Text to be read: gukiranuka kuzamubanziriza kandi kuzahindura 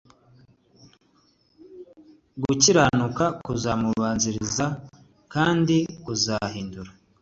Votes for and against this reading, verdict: 2, 0, accepted